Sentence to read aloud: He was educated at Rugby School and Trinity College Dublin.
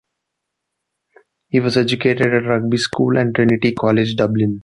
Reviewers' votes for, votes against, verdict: 2, 0, accepted